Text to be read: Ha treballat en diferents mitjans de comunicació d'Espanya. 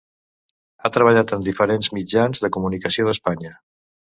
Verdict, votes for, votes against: rejected, 0, 2